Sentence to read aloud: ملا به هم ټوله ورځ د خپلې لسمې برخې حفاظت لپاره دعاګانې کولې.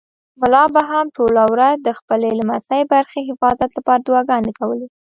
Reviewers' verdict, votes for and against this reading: rejected, 1, 2